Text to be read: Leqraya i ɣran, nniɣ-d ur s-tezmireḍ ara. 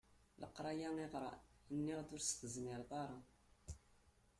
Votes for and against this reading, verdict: 0, 2, rejected